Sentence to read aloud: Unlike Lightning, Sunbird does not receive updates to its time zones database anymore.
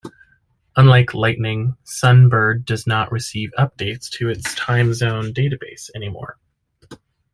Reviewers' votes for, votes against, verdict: 2, 0, accepted